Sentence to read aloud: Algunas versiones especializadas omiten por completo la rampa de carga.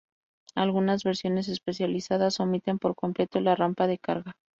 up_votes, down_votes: 2, 0